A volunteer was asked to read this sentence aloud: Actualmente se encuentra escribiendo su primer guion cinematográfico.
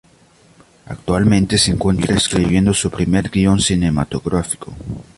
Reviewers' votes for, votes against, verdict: 0, 2, rejected